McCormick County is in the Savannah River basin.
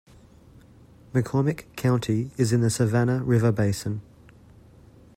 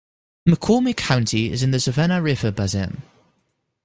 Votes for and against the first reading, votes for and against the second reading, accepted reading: 2, 0, 0, 2, first